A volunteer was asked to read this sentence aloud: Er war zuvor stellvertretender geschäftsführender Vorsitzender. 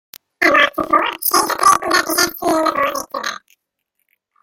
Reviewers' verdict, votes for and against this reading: rejected, 0, 2